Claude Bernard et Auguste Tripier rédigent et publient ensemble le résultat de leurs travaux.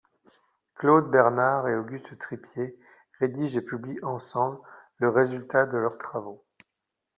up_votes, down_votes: 2, 0